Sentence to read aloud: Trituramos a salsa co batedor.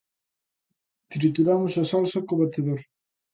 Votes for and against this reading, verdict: 2, 0, accepted